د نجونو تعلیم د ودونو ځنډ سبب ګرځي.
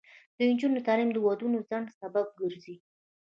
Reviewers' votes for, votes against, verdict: 2, 0, accepted